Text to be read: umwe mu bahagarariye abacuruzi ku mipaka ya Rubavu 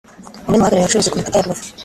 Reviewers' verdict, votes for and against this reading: rejected, 1, 2